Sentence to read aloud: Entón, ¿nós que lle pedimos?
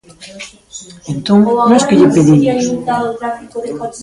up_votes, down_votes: 0, 2